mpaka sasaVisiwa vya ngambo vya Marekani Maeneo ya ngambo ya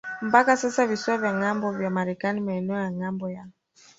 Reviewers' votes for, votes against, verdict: 1, 3, rejected